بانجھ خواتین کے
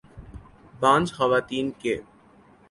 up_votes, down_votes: 4, 0